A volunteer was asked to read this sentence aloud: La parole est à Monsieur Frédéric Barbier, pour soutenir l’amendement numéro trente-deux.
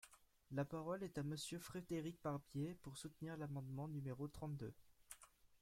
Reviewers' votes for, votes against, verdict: 1, 2, rejected